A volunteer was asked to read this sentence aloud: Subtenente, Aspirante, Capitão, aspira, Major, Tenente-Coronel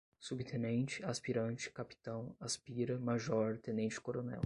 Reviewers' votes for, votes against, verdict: 10, 0, accepted